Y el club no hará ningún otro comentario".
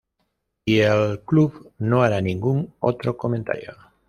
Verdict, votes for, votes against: rejected, 1, 2